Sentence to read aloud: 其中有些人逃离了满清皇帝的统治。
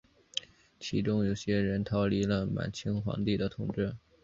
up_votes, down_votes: 4, 1